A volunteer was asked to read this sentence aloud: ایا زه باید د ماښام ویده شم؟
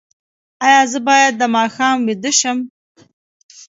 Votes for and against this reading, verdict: 2, 0, accepted